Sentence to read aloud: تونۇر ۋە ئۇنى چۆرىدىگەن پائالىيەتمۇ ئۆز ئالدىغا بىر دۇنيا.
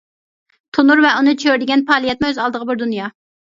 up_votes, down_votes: 2, 0